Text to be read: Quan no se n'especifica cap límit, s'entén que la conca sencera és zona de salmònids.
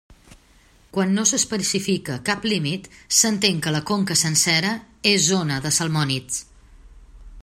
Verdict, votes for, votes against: rejected, 1, 2